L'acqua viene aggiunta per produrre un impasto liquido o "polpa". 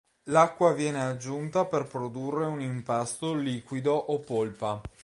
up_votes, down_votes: 2, 0